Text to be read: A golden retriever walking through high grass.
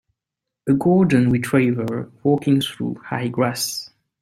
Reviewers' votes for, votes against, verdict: 6, 0, accepted